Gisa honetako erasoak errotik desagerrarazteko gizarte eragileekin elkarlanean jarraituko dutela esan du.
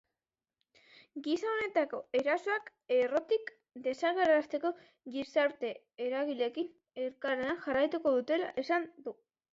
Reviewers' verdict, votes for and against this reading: accepted, 3, 0